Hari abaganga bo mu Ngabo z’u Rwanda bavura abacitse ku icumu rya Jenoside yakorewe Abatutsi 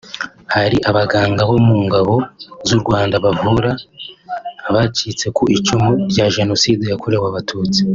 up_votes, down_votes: 2, 0